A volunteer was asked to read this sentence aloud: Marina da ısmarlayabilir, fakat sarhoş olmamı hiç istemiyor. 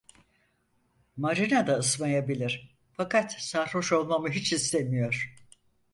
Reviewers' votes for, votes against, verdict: 0, 4, rejected